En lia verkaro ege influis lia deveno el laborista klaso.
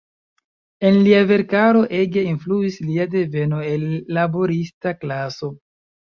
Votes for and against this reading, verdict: 2, 0, accepted